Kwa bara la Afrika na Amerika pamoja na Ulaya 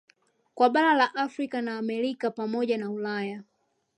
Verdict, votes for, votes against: accepted, 2, 0